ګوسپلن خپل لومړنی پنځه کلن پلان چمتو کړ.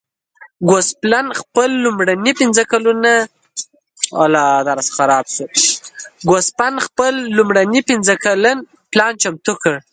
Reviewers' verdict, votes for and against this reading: rejected, 0, 2